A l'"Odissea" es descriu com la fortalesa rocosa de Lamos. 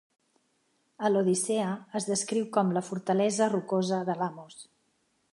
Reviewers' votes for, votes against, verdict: 2, 0, accepted